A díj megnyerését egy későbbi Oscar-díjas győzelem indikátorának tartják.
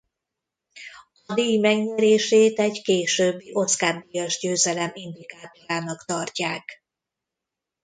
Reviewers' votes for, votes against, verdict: 0, 2, rejected